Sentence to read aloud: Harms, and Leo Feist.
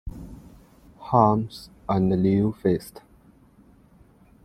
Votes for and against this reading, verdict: 2, 0, accepted